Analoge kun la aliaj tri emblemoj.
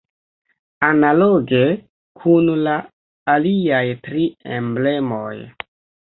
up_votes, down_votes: 3, 0